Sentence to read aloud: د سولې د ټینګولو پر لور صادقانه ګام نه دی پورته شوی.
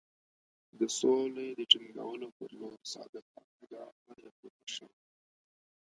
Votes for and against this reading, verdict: 0, 2, rejected